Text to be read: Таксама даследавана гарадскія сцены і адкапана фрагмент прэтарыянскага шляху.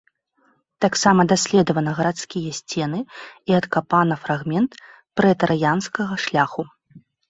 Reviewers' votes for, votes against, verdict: 2, 0, accepted